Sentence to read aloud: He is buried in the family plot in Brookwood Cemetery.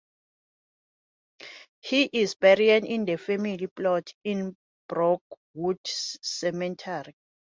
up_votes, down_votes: 0, 2